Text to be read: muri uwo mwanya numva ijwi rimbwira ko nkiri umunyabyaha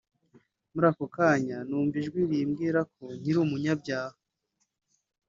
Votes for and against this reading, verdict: 0, 2, rejected